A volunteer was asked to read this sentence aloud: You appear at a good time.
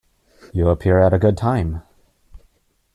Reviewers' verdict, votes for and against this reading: accepted, 2, 0